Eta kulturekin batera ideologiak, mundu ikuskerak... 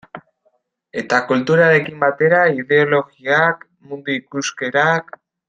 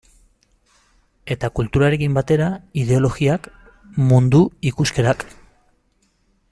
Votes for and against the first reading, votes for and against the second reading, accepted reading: 2, 1, 1, 2, first